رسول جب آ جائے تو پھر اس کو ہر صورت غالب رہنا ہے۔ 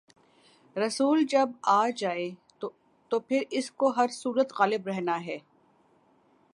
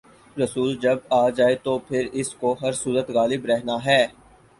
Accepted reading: first